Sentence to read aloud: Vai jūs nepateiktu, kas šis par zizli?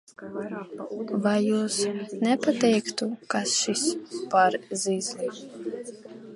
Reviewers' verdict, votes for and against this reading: rejected, 0, 2